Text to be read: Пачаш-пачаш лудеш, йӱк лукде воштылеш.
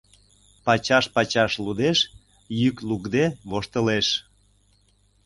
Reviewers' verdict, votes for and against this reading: accepted, 2, 0